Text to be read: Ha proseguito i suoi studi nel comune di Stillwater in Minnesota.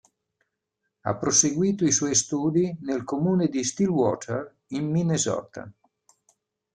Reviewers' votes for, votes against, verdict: 2, 0, accepted